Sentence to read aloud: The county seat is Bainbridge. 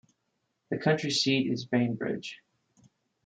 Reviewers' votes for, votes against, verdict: 0, 2, rejected